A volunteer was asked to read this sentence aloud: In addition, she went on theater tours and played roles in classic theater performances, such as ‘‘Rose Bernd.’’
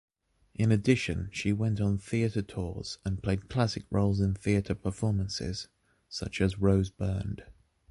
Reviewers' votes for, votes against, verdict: 0, 2, rejected